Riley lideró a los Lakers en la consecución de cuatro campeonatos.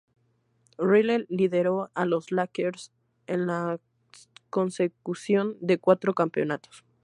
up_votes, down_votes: 2, 2